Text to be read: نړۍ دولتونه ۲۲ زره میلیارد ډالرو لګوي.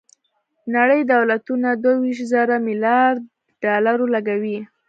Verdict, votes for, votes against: rejected, 0, 2